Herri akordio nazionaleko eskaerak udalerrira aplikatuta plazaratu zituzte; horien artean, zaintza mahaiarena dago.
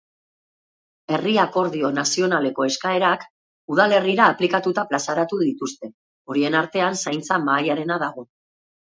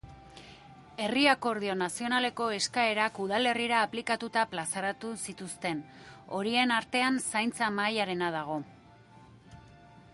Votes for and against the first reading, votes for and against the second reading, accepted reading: 3, 1, 1, 2, first